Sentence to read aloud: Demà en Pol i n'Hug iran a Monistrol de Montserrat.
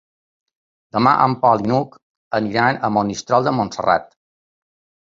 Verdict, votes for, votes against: rejected, 1, 2